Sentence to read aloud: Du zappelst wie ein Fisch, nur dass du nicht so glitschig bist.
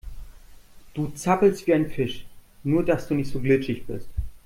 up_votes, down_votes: 2, 0